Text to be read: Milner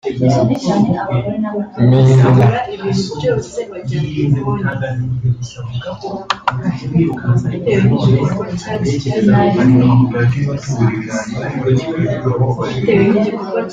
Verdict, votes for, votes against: rejected, 0, 2